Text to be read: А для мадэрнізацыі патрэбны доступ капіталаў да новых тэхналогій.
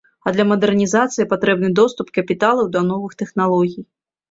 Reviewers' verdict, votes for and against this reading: accepted, 2, 0